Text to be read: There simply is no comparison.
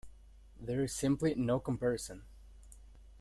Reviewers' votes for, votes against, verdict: 1, 2, rejected